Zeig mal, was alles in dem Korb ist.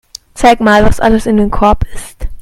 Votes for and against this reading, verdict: 2, 0, accepted